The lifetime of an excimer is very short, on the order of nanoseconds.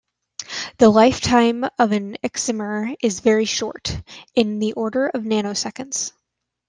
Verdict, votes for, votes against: rejected, 1, 2